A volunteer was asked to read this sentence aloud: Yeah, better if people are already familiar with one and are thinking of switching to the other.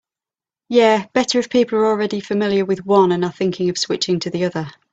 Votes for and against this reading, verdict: 3, 0, accepted